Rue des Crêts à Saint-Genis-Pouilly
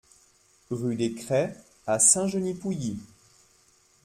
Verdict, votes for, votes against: accepted, 2, 0